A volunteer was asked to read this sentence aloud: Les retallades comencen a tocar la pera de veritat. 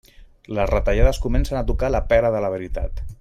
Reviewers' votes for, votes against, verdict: 0, 2, rejected